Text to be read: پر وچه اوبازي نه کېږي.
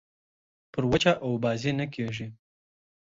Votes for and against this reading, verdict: 0, 2, rejected